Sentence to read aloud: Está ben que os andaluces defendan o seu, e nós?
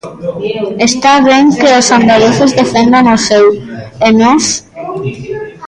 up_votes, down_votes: 0, 2